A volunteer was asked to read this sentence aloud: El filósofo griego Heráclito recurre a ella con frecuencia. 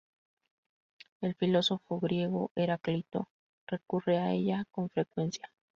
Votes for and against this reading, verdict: 0, 2, rejected